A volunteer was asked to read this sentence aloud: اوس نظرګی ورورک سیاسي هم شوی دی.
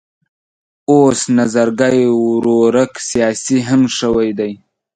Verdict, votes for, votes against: accepted, 2, 0